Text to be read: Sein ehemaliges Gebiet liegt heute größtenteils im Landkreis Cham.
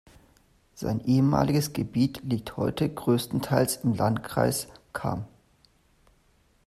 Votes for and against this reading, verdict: 2, 0, accepted